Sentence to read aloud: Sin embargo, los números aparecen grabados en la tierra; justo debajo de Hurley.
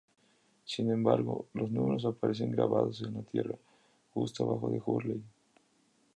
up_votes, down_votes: 2, 0